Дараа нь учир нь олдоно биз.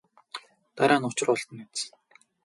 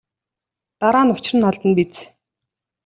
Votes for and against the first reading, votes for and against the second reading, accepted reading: 2, 2, 2, 0, second